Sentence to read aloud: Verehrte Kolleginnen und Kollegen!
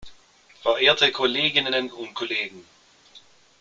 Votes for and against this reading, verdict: 1, 2, rejected